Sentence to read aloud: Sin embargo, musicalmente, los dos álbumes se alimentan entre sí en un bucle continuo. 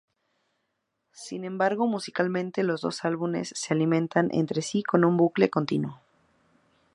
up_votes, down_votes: 0, 4